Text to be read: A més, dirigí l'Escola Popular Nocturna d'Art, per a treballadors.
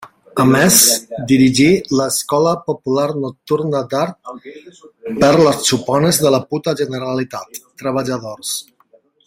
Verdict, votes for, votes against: rejected, 0, 2